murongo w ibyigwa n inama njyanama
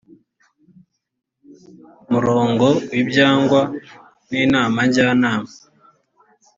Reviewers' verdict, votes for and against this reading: accepted, 2, 0